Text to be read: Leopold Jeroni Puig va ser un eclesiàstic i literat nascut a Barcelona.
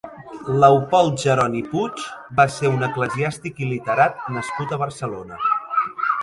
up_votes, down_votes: 1, 2